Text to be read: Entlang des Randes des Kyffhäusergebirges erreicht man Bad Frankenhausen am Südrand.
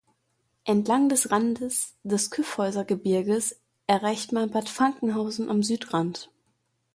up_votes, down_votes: 1, 2